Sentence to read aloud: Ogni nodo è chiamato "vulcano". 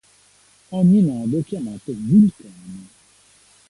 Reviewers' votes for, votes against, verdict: 1, 2, rejected